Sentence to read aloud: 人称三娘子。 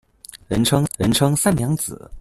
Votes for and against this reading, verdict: 1, 2, rejected